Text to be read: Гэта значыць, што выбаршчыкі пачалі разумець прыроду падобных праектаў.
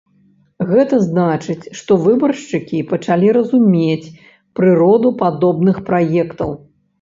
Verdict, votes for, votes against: accepted, 3, 0